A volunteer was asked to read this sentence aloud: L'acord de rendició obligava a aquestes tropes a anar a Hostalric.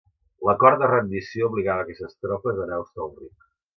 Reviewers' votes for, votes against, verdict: 3, 0, accepted